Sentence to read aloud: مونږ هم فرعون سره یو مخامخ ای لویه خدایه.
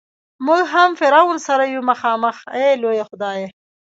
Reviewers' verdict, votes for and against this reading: rejected, 1, 2